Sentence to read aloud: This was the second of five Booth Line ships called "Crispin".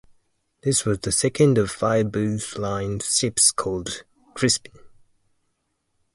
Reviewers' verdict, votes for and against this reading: accepted, 2, 0